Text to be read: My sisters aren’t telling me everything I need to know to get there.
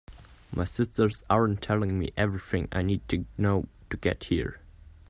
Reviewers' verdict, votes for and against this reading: rejected, 0, 2